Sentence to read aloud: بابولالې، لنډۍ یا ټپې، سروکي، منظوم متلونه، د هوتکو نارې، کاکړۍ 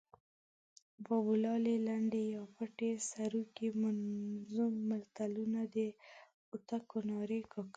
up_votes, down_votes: 1, 2